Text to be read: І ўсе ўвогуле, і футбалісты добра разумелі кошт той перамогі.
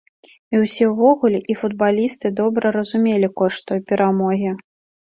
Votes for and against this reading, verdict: 2, 0, accepted